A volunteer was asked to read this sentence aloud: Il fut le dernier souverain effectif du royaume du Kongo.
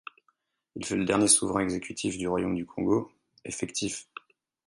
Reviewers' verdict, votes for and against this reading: rejected, 2, 4